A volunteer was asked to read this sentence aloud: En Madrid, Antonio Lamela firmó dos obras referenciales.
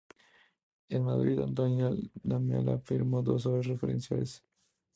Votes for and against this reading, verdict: 2, 0, accepted